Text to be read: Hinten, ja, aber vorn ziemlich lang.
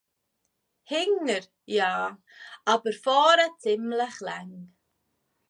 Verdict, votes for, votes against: rejected, 0, 2